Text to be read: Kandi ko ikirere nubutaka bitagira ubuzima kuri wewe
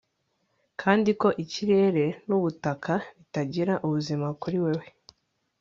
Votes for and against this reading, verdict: 2, 0, accepted